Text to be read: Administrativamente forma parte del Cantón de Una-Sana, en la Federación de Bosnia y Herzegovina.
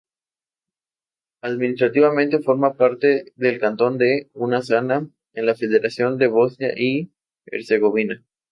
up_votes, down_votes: 4, 0